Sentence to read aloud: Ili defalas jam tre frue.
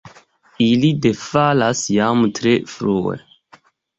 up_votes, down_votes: 2, 0